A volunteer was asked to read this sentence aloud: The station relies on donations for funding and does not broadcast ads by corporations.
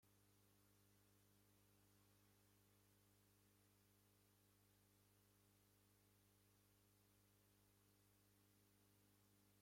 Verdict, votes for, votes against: rejected, 0, 2